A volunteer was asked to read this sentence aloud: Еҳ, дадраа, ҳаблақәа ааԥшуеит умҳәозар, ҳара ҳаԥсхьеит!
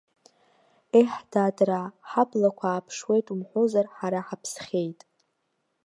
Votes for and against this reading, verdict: 0, 2, rejected